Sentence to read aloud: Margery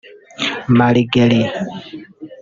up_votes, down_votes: 1, 2